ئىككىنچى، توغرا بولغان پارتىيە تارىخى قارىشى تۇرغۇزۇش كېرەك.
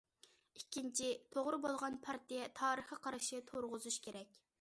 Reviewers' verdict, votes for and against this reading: accepted, 2, 1